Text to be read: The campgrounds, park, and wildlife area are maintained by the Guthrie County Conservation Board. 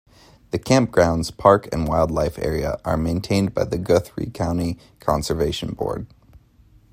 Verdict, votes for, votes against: accepted, 2, 0